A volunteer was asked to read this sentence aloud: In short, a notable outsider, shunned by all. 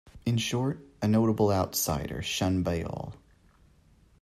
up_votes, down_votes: 2, 0